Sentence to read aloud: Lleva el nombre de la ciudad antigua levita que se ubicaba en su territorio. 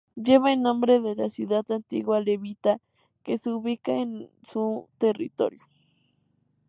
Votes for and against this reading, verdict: 2, 0, accepted